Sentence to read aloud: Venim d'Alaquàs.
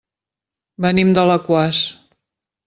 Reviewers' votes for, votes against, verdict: 3, 0, accepted